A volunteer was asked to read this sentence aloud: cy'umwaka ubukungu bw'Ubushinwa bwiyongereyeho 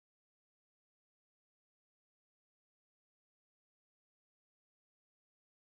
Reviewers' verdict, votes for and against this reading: rejected, 0, 2